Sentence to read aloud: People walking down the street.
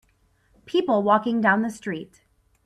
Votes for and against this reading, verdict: 3, 0, accepted